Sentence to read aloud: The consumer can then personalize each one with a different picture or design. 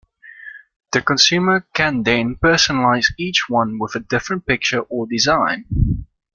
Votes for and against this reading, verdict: 2, 0, accepted